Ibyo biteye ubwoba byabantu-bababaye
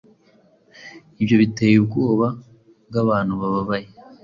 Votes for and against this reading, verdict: 2, 1, accepted